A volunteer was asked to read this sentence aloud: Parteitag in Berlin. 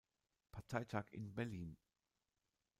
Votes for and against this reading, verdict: 2, 0, accepted